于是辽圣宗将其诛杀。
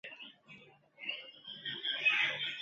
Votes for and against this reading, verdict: 0, 2, rejected